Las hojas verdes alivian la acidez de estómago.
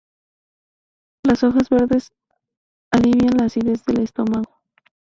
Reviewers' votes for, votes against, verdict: 0, 2, rejected